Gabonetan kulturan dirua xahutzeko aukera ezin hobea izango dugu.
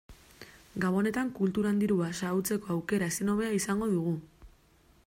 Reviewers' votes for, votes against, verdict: 2, 0, accepted